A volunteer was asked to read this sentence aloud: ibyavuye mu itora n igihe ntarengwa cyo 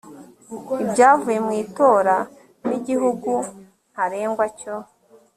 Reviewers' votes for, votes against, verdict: 1, 2, rejected